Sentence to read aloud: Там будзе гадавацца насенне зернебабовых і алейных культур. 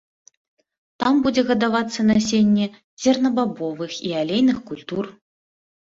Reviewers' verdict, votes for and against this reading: rejected, 0, 2